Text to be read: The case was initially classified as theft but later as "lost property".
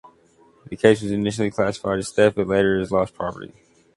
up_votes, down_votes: 2, 0